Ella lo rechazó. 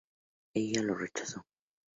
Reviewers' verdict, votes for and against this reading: accepted, 2, 0